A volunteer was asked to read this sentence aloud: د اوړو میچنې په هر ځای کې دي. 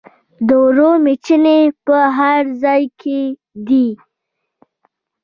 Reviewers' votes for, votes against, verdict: 1, 2, rejected